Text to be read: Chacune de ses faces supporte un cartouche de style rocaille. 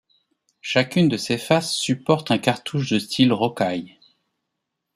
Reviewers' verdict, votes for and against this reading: accepted, 2, 0